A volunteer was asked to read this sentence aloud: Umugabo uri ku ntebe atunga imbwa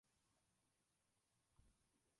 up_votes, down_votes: 0, 2